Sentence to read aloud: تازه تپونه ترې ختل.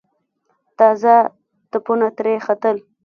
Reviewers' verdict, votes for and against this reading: rejected, 1, 2